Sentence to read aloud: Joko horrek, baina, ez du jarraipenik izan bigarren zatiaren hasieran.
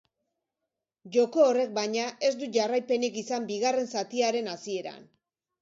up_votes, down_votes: 2, 0